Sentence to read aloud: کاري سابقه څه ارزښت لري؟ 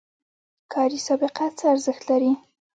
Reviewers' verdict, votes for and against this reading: accepted, 2, 0